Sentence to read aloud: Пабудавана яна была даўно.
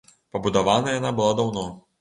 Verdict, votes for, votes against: accepted, 2, 0